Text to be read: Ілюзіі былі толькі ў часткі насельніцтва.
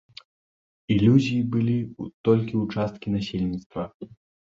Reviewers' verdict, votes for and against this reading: accepted, 2, 0